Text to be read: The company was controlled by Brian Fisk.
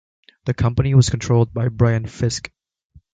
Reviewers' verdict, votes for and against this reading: accepted, 2, 0